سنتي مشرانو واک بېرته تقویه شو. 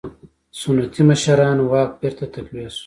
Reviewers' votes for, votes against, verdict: 1, 2, rejected